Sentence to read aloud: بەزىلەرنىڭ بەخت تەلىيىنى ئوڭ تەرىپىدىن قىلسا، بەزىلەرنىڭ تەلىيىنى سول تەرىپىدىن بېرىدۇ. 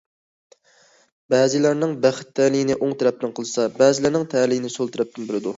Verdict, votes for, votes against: rejected, 1, 2